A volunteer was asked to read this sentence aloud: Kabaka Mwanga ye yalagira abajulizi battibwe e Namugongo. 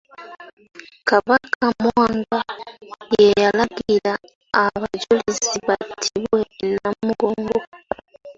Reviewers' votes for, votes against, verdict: 1, 2, rejected